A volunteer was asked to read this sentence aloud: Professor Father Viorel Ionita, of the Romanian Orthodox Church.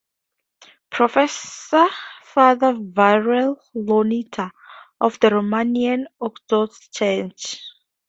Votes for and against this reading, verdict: 2, 0, accepted